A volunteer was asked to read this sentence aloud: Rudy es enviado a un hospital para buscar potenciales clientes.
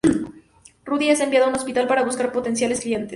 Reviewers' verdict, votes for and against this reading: accepted, 2, 0